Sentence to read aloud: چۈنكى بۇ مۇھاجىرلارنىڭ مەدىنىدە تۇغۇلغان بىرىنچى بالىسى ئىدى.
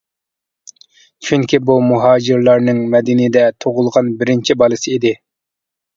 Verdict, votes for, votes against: accepted, 2, 0